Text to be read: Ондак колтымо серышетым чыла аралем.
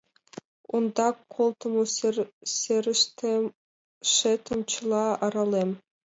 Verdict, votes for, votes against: rejected, 1, 2